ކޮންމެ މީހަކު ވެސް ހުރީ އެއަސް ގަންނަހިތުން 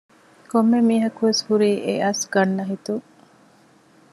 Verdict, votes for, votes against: accepted, 2, 0